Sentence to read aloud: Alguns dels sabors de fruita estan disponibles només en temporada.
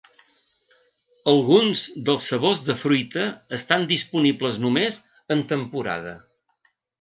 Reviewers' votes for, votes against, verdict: 0, 2, rejected